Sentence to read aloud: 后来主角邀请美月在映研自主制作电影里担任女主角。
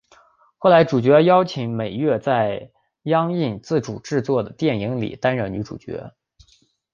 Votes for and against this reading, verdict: 5, 0, accepted